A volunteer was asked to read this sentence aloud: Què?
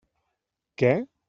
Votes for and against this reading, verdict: 3, 0, accepted